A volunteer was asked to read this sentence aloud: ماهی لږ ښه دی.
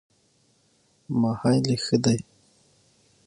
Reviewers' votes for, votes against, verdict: 6, 0, accepted